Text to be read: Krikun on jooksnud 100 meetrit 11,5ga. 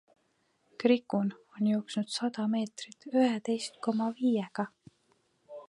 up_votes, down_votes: 0, 2